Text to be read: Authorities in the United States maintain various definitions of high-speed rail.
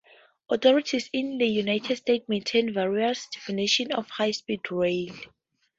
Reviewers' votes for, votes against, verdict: 0, 4, rejected